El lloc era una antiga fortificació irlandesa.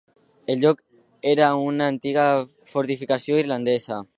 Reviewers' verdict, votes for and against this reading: accepted, 2, 0